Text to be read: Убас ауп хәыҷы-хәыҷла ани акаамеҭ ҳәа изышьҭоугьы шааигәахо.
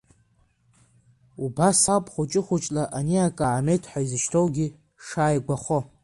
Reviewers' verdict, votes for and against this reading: rejected, 0, 2